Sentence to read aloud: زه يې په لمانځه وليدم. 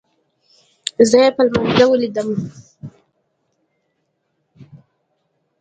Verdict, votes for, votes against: accepted, 2, 0